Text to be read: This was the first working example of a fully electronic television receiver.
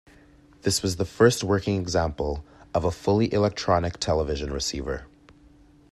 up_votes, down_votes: 2, 0